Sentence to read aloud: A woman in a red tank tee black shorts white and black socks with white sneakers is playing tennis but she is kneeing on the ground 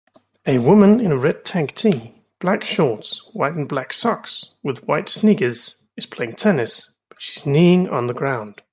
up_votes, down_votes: 3, 0